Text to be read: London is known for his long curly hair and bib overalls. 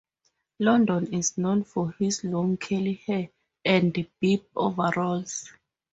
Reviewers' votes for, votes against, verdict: 4, 2, accepted